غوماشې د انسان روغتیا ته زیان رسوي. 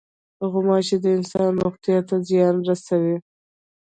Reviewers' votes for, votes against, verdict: 1, 2, rejected